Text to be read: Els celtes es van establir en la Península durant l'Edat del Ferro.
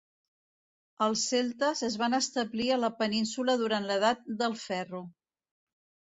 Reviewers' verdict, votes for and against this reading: rejected, 0, 2